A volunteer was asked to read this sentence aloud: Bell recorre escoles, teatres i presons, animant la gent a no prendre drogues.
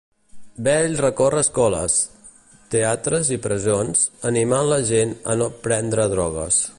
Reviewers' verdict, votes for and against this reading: accepted, 2, 0